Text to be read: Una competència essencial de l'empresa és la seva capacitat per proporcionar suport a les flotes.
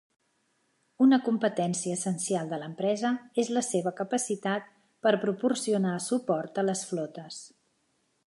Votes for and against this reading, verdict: 3, 0, accepted